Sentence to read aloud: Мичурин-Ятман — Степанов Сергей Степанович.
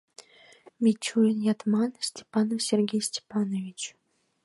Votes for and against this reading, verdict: 2, 1, accepted